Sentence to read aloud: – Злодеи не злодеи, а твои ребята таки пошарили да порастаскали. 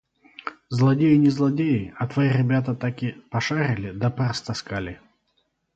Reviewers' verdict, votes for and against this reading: rejected, 2, 4